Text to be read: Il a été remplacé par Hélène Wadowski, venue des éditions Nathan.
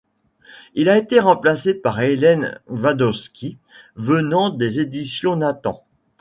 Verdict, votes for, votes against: rejected, 1, 2